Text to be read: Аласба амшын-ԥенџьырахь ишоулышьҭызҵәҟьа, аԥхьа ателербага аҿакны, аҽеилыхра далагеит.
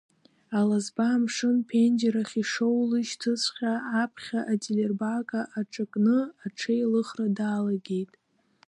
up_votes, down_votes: 2, 0